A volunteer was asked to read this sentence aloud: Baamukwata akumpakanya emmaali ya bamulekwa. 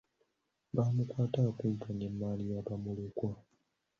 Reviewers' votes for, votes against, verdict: 2, 1, accepted